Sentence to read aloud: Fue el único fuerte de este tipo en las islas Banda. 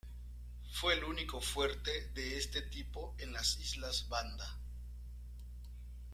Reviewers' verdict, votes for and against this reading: rejected, 1, 2